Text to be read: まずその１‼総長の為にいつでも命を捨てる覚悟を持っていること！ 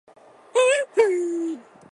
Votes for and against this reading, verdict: 0, 2, rejected